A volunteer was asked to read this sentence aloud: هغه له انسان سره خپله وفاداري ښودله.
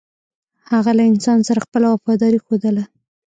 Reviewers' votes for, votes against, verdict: 0, 2, rejected